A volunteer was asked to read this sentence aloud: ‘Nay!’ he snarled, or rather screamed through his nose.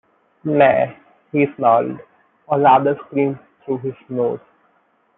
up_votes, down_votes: 2, 1